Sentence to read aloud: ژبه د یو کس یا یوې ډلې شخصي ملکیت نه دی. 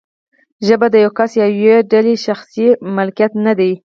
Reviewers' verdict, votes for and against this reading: rejected, 0, 4